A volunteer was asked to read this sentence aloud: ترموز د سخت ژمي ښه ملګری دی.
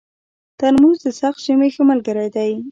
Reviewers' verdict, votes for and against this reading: rejected, 0, 2